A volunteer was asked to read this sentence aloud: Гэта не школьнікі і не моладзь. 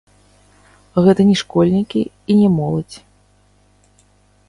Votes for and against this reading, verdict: 0, 3, rejected